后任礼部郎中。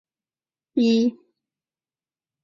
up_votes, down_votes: 0, 4